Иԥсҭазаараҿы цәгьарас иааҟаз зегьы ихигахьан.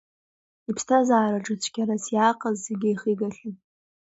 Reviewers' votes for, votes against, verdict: 2, 0, accepted